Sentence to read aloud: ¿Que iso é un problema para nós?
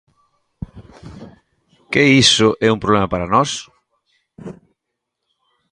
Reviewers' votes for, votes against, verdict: 2, 0, accepted